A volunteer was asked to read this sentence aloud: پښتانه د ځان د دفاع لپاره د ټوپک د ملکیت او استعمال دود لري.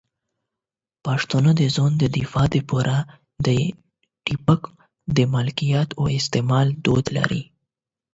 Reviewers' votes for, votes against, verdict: 4, 8, rejected